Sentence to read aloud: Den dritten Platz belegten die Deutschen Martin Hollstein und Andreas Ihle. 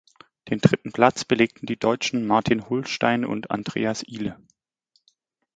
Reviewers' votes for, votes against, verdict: 1, 2, rejected